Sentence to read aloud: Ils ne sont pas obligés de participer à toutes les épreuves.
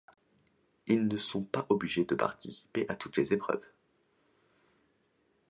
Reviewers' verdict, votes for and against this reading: accepted, 2, 0